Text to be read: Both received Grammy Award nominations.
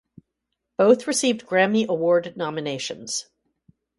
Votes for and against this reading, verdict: 0, 2, rejected